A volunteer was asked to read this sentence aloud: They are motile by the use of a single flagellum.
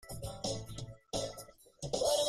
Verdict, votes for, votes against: rejected, 0, 2